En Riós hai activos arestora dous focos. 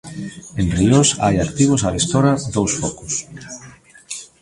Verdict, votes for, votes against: rejected, 0, 2